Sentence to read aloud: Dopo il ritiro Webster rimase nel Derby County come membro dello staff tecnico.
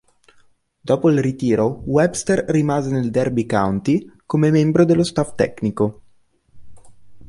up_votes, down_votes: 2, 0